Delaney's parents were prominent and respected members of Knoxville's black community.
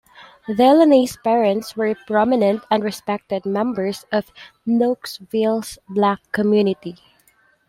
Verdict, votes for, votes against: accepted, 3, 0